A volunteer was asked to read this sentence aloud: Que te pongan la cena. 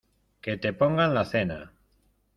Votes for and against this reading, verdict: 2, 0, accepted